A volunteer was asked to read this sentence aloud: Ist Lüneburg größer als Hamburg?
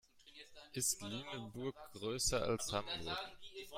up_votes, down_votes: 0, 2